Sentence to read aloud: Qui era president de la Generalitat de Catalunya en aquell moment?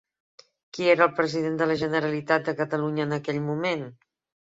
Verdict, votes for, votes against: rejected, 0, 2